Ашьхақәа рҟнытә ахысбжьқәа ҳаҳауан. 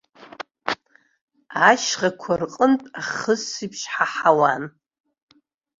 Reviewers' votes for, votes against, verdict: 3, 4, rejected